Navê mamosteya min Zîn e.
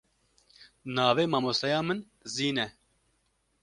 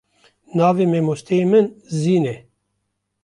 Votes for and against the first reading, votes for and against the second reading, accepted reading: 2, 0, 1, 2, first